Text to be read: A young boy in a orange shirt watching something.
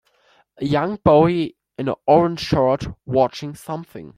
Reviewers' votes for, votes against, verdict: 2, 1, accepted